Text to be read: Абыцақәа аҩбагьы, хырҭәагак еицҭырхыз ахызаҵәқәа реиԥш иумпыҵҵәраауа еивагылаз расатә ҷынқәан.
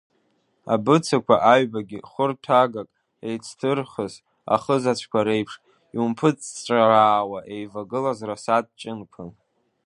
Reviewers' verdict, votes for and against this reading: rejected, 1, 2